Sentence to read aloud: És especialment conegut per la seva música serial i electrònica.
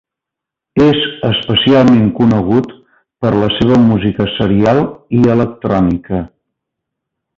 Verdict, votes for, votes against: rejected, 0, 2